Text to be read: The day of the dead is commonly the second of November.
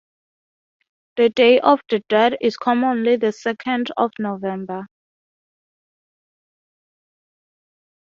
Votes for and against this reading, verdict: 6, 0, accepted